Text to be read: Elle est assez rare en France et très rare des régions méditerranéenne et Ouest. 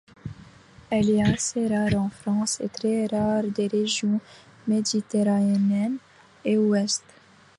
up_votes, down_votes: 0, 2